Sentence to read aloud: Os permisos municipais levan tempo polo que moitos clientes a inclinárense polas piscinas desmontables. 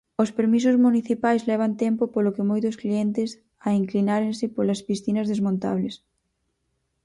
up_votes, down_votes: 4, 0